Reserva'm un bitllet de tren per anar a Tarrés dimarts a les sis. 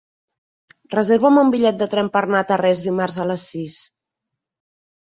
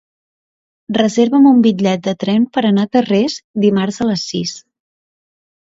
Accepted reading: second